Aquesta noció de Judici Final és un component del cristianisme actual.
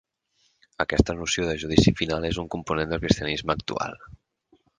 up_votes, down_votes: 8, 0